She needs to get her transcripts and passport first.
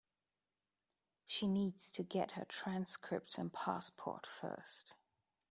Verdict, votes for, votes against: accepted, 2, 0